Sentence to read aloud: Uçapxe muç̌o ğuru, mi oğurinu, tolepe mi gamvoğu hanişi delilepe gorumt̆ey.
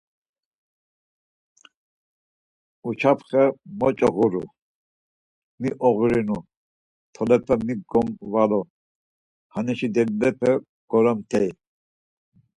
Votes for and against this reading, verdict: 2, 4, rejected